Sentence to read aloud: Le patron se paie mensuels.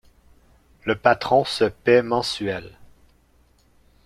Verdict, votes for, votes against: accepted, 2, 0